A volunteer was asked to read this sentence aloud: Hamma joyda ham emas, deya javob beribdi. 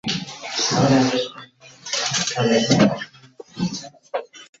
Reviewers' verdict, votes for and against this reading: rejected, 0, 2